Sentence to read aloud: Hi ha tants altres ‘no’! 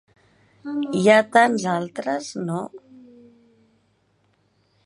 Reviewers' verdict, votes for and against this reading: accepted, 3, 1